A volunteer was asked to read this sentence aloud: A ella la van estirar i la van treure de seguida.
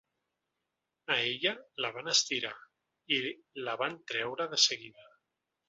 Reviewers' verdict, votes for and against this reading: accepted, 3, 0